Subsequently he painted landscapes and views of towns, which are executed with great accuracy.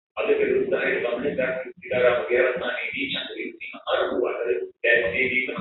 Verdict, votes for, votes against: rejected, 1, 4